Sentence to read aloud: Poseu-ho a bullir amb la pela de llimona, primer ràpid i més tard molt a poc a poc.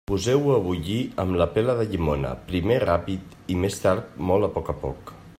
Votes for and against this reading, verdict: 2, 0, accepted